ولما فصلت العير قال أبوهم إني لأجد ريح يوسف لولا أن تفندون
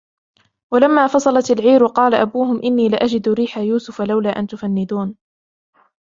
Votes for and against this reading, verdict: 0, 2, rejected